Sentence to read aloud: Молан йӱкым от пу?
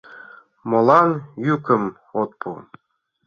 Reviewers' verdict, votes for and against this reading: accepted, 2, 1